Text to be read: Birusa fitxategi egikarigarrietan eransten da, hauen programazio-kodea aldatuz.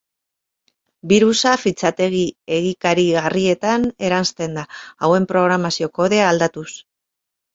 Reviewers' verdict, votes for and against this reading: rejected, 2, 2